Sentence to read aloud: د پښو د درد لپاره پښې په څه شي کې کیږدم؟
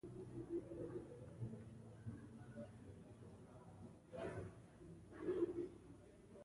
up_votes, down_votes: 1, 2